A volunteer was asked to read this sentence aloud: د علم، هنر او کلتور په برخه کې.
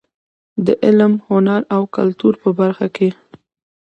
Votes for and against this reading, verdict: 2, 0, accepted